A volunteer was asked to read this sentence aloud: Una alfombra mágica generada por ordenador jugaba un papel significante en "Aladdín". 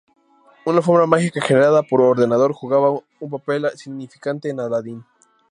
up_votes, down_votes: 2, 0